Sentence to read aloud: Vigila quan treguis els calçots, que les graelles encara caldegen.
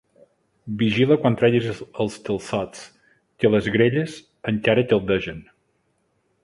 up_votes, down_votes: 1, 2